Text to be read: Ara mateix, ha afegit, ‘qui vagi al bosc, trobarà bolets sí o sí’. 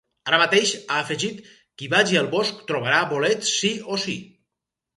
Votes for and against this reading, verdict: 4, 0, accepted